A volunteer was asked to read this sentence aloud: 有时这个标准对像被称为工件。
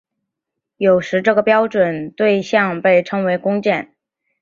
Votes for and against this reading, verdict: 3, 0, accepted